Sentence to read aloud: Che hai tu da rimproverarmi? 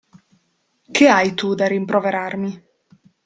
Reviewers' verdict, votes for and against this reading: accepted, 2, 0